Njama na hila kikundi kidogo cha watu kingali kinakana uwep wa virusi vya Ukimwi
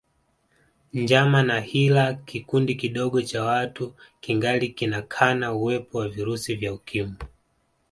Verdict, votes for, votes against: accepted, 2, 0